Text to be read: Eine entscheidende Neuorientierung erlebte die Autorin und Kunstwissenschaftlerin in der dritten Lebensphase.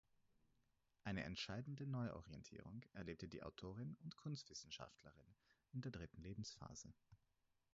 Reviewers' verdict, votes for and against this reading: accepted, 4, 2